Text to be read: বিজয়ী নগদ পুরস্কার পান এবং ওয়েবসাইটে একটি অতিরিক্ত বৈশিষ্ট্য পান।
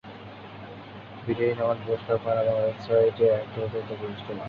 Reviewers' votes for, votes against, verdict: 1, 12, rejected